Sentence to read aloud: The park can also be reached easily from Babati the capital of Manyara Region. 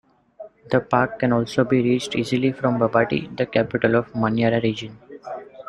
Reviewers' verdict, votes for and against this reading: accepted, 2, 0